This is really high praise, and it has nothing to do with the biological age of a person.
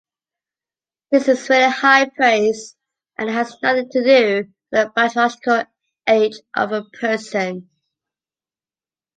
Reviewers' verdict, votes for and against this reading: rejected, 0, 2